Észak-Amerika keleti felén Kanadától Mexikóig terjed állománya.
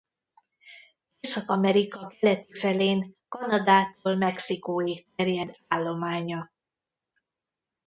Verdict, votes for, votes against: rejected, 0, 2